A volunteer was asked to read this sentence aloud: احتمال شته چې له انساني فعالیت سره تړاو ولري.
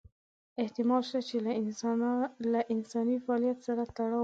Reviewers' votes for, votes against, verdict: 0, 2, rejected